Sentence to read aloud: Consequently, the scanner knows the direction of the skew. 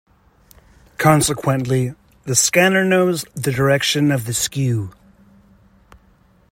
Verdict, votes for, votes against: accepted, 2, 0